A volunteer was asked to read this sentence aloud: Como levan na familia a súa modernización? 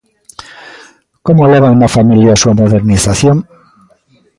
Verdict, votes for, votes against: rejected, 0, 2